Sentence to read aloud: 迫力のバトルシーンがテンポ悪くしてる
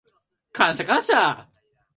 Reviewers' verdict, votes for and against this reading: rejected, 0, 2